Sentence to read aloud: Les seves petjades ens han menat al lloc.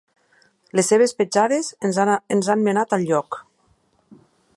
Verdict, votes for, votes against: rejected, 2, 3